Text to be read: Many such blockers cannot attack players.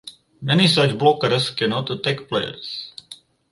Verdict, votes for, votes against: rejected, 2, 2